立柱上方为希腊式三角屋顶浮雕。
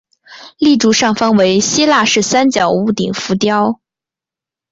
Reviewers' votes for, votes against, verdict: 3, 0, accepted